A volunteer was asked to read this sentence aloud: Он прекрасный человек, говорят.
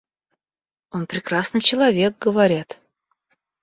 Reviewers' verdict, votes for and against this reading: accepted, 2, 0